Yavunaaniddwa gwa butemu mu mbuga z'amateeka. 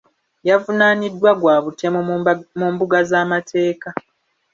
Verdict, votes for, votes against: accepted, 2, 0